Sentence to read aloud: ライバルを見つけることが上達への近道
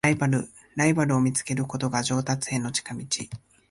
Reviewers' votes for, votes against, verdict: 1, 2, rejected